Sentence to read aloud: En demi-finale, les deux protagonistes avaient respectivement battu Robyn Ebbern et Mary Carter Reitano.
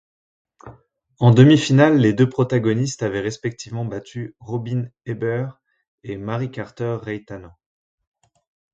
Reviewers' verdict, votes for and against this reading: accepted, 2, 1